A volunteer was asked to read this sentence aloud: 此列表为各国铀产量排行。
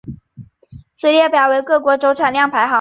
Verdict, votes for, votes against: accepted, 3, 0